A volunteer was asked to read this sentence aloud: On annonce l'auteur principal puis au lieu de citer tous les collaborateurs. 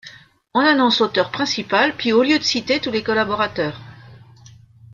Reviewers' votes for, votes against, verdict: 1, 2, rejected